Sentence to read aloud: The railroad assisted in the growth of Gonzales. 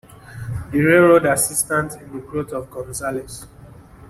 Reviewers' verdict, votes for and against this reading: rejected, 1, 2